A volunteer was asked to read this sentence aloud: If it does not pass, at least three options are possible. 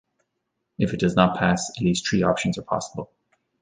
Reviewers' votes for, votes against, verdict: 2, 1, accepted